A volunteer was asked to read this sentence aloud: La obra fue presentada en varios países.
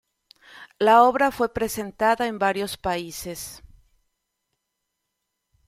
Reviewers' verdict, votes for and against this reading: accepted, 2, 0